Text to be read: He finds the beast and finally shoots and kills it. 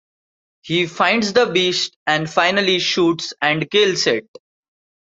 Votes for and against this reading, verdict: 2, 0, accepted